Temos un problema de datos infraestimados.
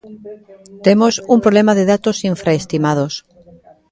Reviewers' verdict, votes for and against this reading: rejected, 1, 2